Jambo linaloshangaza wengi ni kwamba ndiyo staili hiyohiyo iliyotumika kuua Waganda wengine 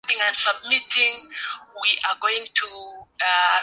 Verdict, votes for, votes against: rejected, 0, 3